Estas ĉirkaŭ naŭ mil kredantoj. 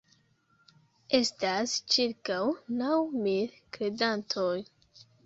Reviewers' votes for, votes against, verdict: 2, 0, accepted